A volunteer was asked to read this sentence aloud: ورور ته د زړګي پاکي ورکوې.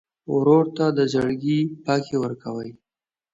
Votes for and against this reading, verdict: 2, 0, accepted